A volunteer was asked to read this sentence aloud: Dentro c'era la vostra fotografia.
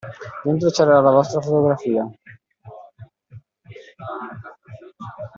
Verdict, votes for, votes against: rejected, 0, 2